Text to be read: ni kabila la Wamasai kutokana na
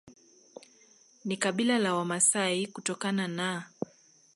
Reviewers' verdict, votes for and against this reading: accepted, 2, 0